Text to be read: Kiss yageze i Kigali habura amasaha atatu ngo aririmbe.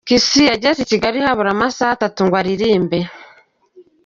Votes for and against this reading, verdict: 1, 2, rejected